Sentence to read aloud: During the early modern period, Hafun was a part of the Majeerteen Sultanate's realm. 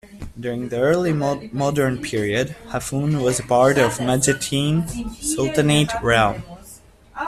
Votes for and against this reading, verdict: 1, 2, rejected